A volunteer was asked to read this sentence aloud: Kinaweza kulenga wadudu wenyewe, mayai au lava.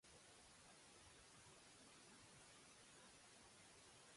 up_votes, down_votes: 0, 2